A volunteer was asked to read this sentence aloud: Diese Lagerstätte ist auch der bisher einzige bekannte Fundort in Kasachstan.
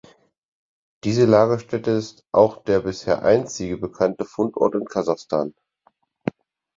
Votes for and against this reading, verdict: 4, 0, accepted